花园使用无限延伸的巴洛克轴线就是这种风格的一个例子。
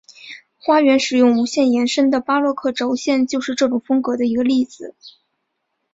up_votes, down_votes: 4, 0